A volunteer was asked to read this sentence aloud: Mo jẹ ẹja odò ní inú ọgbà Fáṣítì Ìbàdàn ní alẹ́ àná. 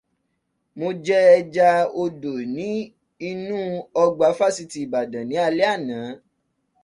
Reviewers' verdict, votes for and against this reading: accepted, 2, 0